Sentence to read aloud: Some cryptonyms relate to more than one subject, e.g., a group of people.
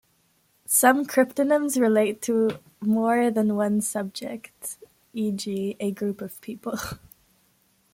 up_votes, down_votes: 2, 0